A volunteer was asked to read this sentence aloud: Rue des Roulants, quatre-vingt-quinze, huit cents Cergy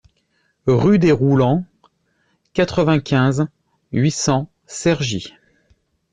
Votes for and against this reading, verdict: 2, 0, accepted